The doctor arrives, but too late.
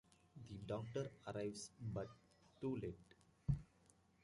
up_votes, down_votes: 2, 0